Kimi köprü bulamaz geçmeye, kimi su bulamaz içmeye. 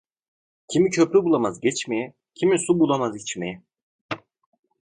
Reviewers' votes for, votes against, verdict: 2, 0, accepted